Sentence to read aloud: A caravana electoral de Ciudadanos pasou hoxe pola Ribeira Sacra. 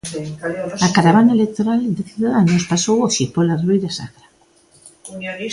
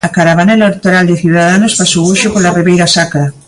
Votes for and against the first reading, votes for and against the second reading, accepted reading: 2, 1, 1, 2, first